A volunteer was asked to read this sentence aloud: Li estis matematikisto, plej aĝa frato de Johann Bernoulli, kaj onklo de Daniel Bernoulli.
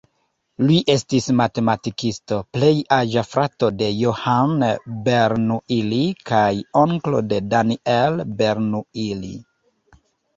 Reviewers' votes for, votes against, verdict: 2, 3, rejected